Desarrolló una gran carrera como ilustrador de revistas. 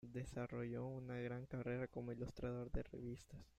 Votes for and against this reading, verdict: 1, 2, rejected